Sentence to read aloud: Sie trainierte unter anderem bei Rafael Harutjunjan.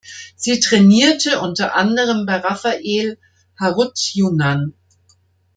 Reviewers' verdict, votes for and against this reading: rejected, 0, 3